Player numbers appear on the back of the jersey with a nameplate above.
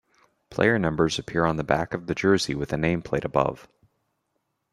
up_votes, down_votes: 2, 0